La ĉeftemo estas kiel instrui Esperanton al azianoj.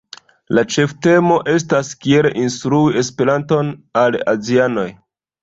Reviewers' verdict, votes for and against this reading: rejected, 1, 2